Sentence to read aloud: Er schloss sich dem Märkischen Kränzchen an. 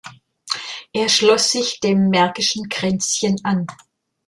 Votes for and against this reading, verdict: 2, 0, accepted